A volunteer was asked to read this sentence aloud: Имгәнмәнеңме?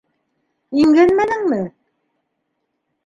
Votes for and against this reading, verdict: 2, 1, accepted